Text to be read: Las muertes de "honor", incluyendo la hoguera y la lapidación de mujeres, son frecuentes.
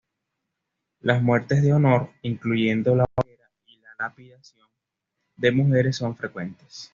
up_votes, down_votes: 1, 2